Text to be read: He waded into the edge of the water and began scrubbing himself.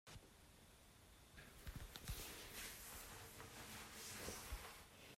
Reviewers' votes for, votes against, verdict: 0, 2, rejected